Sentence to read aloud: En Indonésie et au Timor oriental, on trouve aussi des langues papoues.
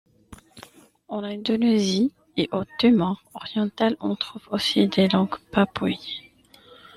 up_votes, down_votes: 1, 2